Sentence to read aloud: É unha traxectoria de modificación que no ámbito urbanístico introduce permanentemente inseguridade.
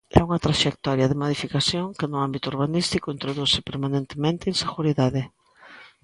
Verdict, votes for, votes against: accepted, 2, 0